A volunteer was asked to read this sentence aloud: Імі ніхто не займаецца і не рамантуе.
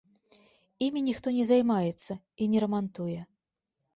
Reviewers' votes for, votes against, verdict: 2, 0, accepted